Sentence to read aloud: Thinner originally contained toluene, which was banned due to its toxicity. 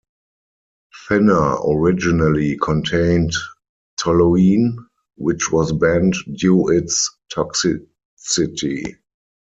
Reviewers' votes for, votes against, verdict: 0, 4, rejected